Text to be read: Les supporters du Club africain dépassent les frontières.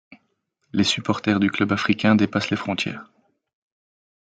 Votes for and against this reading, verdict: 2, 0, accepted